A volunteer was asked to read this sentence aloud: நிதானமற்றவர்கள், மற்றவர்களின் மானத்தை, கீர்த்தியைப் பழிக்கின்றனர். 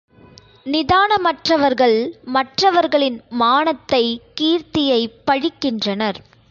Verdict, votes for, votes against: accepted, 2, 0